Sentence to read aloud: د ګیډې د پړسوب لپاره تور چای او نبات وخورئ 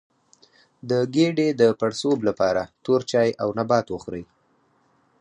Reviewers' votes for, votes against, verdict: 4, 0, accepted